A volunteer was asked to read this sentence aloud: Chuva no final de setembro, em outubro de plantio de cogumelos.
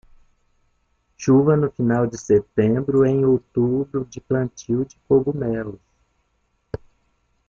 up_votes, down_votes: 1, 2